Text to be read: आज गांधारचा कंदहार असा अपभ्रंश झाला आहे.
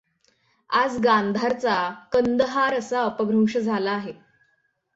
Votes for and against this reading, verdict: 6, 3, accepted